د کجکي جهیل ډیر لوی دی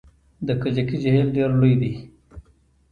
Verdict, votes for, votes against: rejected, 1, 2